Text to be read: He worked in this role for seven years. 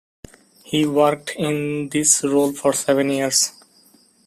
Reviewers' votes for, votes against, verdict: 2, 0, accepted